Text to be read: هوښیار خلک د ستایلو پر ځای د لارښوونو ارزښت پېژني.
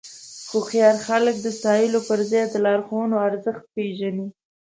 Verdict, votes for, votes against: rejected, 1, 2